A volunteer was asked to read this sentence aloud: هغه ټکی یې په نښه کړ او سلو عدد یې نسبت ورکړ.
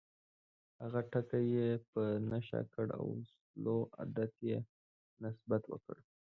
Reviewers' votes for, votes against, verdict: 0, 2, rejected